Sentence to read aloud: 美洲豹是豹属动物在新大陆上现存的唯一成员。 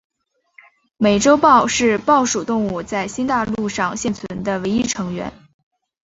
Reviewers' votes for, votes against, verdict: 2, 0, accepted